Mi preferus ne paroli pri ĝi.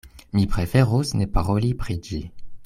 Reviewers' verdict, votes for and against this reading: accepted, 2, 0